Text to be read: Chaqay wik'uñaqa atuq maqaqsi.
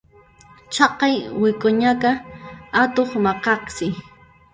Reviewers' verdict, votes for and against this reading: rejected, 0, 2